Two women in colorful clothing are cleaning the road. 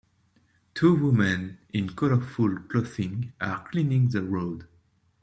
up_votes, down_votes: 1, 2